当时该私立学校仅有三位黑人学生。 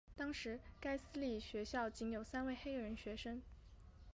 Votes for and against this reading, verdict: 2, 1, accepted